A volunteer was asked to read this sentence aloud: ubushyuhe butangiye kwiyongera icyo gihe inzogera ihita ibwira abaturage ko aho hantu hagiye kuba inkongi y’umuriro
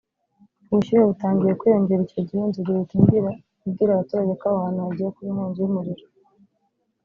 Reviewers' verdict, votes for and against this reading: rejected, 1, 2